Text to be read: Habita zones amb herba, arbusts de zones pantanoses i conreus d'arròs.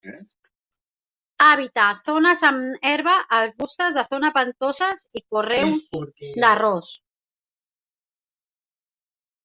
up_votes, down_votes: 0, 2